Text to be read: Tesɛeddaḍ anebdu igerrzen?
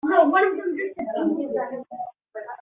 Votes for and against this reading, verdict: 0, 2, rejected